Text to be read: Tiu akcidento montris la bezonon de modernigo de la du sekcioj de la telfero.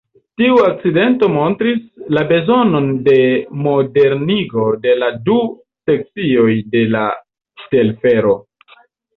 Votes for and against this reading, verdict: 1, 2, rejected